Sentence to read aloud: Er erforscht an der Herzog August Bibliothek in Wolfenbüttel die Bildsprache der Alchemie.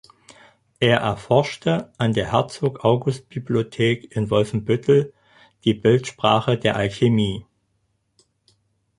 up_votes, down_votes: 0, 4